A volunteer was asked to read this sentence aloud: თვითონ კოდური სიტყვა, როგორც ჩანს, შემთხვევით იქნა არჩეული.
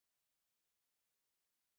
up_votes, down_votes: 0, 2